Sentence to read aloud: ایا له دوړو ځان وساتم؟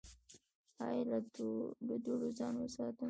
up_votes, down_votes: 1, 2